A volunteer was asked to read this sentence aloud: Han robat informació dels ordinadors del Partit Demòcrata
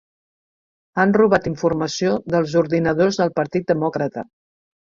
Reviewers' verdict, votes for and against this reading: accepted, 3, 1